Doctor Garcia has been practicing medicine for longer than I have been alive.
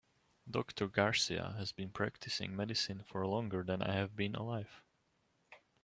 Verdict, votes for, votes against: accepted, 2, 0